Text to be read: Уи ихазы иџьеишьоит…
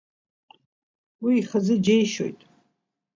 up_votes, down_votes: 1, 2